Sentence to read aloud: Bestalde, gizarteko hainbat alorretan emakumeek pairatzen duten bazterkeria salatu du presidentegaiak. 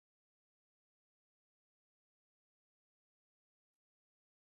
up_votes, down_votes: 0, 2